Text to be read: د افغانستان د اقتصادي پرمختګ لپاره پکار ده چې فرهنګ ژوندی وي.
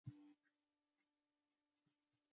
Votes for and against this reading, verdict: 0, 2, rejected